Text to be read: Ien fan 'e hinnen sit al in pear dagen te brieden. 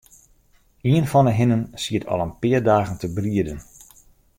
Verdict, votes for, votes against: rejected, 1, 2